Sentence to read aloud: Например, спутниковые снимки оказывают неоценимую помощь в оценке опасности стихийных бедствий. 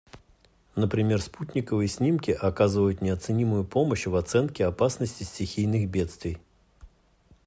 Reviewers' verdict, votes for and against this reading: accepted, 2, 0